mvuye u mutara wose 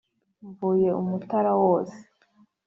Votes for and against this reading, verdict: 3, 0, accepted